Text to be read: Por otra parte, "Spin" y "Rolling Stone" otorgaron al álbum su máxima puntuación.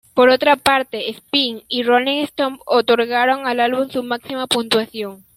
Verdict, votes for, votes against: accepted, 2, 0